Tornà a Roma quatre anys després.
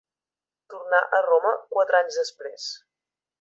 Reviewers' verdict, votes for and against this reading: accepted, 2, 0